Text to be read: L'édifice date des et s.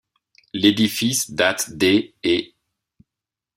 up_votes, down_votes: 0, 2